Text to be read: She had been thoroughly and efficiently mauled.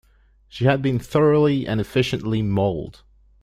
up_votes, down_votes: 2, 0